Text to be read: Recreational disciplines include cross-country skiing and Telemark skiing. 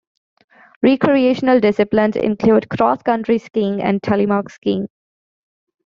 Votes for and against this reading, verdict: 2, 0, accepted